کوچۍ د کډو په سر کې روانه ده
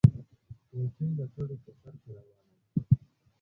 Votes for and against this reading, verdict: 3, 0, accepted